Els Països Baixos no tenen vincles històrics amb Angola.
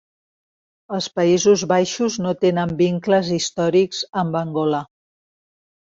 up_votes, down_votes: 3, 0